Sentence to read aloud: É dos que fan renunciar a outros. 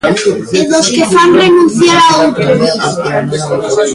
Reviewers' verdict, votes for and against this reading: rejected, 0, 2